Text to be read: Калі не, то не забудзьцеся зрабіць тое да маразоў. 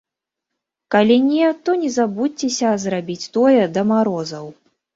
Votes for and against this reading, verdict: 0, 2, rejected